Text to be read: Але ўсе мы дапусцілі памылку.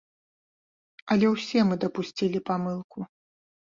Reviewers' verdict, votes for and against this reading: accepted, 2, 0